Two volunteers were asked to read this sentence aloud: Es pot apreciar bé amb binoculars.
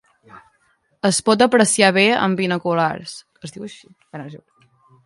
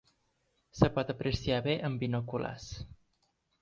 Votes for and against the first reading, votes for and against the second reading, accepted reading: 0, 2, 2, 1, second